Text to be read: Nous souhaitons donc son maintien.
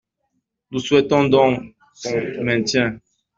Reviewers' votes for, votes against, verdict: 1, 2, rejected